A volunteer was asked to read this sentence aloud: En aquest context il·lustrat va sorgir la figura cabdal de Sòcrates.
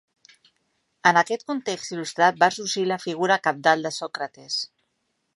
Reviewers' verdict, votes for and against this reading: accepted, 4, 0